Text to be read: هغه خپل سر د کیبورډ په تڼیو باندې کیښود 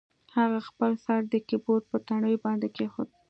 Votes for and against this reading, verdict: 2, 0, accepted